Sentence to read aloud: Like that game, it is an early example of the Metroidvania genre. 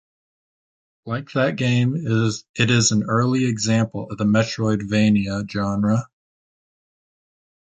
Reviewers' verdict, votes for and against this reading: accepted, 2, 0